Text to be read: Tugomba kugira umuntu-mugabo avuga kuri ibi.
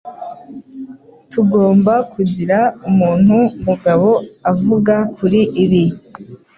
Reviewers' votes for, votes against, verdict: 2, 0, accepted